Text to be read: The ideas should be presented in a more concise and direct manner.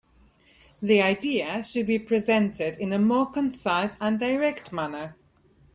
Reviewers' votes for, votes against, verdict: 3, 0, accepted